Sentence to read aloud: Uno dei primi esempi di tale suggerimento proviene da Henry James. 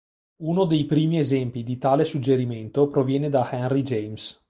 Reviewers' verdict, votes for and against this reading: accepted, 2, 0